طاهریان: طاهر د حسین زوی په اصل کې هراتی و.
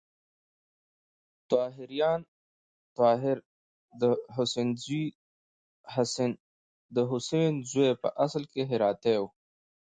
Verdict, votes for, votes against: rejected, 1, 2